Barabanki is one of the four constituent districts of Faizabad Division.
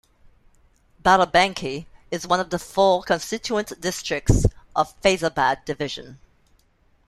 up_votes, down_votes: 2, 0